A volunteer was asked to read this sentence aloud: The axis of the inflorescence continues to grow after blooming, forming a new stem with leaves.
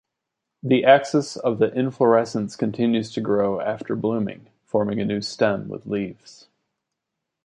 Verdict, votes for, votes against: accepted, 2, 0